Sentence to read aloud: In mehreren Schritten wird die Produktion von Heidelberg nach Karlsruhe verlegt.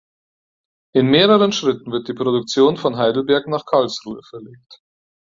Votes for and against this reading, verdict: 4, 0, accepted